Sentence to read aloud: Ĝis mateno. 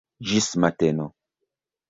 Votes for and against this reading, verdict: 2, 0, accepted